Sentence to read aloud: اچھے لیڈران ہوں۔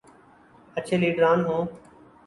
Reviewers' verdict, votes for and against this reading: accepted, 4, 0